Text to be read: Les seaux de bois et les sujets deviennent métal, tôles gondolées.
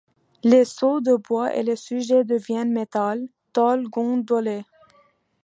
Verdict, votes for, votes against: accepted, 2, 0